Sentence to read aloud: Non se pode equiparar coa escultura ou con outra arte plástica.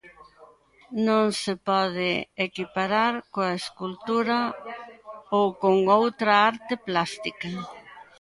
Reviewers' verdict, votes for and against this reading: rejected, 1, 2